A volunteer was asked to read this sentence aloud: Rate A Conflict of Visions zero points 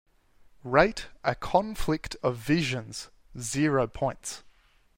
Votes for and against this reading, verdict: 2, 0, accepted